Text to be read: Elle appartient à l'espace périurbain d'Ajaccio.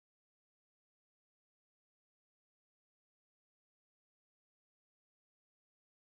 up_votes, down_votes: 0, 2